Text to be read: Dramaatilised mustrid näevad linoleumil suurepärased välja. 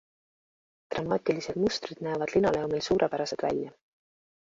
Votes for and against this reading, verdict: 2, 0, accepted